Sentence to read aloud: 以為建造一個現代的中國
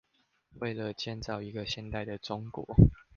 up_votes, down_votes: 0, 2